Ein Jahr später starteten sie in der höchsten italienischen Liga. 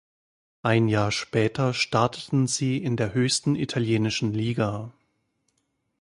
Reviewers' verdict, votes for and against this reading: accepted, 2, 0